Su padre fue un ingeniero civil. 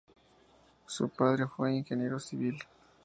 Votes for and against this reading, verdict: 2, 0, accepted